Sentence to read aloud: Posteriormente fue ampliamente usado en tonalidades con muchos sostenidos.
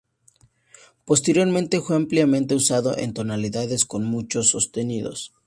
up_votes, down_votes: 2, 0